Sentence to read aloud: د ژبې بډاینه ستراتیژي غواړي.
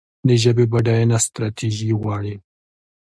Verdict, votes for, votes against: accepted, 2, 0